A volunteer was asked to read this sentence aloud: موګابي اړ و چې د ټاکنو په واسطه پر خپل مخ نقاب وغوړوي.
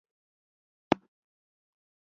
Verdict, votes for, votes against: rejected, 0, 2